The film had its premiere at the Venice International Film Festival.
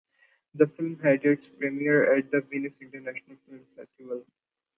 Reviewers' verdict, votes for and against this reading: rejected, 0, 2